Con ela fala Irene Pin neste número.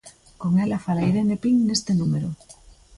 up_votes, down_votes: 2, 0